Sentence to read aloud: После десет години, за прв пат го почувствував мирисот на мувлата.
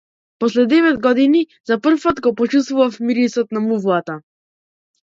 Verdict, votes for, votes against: rejected, 0, 2